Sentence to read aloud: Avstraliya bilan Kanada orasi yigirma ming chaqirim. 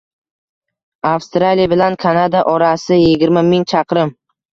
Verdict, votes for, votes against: accepted, 2, 0